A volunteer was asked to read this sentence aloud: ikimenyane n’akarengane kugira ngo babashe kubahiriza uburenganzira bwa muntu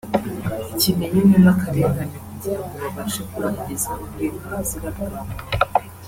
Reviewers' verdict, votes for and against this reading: rejected, 0, 2